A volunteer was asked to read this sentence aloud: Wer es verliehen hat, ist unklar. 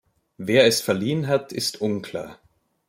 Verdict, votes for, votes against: rejected, 1, 2